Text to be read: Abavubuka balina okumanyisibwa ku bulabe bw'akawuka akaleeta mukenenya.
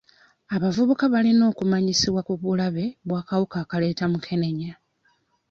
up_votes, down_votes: 2, 0